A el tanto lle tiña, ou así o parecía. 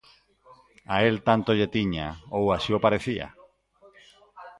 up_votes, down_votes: 0, 2